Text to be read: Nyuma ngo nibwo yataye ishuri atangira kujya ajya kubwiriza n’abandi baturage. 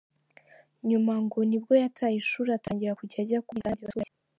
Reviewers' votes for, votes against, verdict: 0, 2, rejected